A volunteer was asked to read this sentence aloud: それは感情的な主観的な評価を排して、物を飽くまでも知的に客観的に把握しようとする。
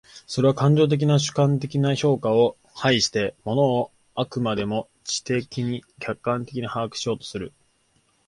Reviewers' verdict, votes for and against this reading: accepted, 3, 2